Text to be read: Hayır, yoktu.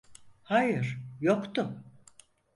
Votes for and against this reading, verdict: 4, 0, accepted